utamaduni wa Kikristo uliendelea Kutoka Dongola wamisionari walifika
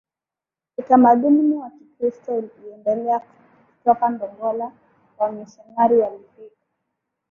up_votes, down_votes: 0, 2